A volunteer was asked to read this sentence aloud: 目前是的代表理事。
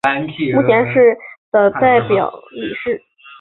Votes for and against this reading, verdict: 2, 1, accepted